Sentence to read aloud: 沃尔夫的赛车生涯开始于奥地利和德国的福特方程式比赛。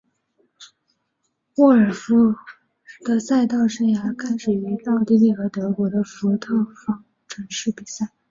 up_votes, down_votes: 2, 1